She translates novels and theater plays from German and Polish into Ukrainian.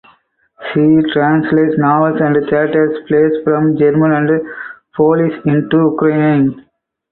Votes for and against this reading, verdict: 2, 4, rejected